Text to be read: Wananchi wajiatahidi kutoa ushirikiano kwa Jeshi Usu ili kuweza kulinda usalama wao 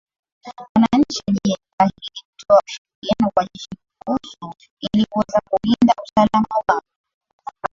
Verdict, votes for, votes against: rejected, 4, 5